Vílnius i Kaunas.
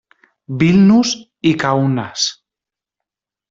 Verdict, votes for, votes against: rejected, 1, 2